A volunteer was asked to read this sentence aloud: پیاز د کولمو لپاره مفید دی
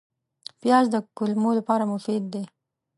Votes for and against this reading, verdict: 2, 0, accepted